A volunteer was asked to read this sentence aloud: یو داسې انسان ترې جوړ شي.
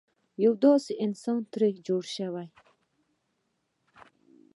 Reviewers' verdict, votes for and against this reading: accepted, 2, 0